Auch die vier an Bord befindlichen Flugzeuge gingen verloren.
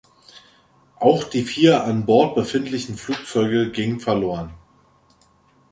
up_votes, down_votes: 3, 0